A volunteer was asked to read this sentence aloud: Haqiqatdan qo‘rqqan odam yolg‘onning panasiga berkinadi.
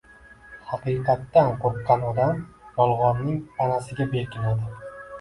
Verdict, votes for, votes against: rejected, 0, 2